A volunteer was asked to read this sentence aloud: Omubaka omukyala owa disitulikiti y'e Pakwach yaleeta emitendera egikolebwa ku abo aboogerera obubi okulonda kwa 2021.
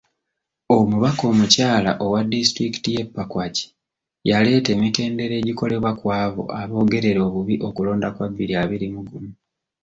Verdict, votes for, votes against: rejected, 0, 2